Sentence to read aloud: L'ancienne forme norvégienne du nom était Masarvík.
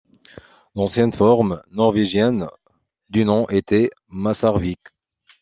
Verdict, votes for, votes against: accepted, 2, 0